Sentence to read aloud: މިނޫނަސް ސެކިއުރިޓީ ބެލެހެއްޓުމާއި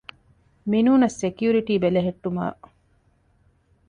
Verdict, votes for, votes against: accepted, 2, 0